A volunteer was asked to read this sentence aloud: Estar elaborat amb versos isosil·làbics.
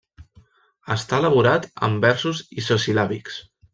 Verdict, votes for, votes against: rejected, 1, 2